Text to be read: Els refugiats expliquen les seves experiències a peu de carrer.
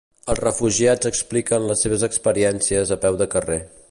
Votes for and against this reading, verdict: 2, 0, accepted